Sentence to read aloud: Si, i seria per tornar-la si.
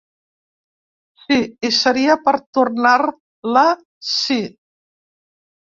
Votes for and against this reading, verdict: 1, 2, rejected